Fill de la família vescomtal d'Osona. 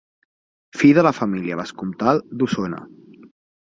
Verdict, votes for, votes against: accepted, 4, 0